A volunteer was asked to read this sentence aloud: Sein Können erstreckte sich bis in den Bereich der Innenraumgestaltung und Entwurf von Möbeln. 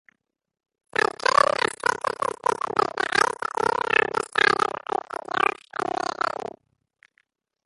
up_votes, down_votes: 0, 2